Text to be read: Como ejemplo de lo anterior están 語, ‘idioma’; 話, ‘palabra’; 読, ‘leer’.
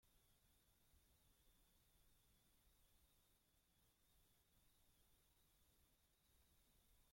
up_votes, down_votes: 0, 2